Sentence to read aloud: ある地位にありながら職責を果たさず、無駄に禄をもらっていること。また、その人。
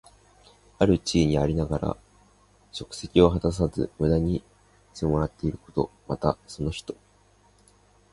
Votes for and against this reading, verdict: 3, 1, accepted